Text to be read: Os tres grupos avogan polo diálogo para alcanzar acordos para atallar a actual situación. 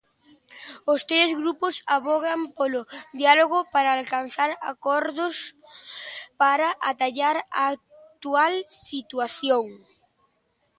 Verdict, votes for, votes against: accepted, 2, 0